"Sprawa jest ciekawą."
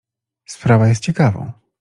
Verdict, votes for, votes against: accepted, 2, 0